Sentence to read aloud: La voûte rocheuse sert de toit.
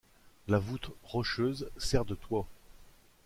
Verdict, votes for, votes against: rejected, 1, 2